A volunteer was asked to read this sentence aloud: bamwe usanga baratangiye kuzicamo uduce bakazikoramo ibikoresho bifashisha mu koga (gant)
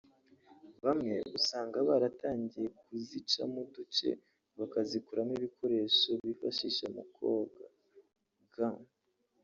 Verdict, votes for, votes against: rejected, 0, 2